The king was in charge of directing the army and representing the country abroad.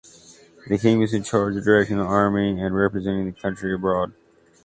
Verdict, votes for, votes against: rejected, 1, 2